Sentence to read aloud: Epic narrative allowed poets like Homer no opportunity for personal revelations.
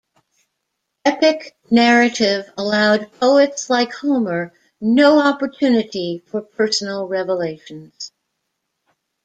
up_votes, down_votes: 2, 0